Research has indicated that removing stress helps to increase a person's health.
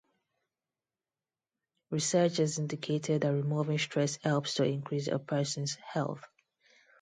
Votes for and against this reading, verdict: 0, 2, rejected